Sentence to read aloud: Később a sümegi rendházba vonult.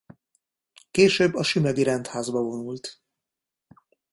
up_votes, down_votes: 2, 0